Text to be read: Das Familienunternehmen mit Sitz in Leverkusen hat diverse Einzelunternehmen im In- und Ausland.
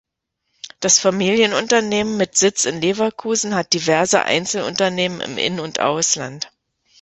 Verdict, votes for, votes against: accepted, 2, 0